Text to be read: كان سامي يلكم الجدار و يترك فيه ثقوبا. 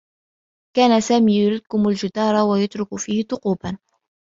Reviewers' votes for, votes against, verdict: 2, 0, accepted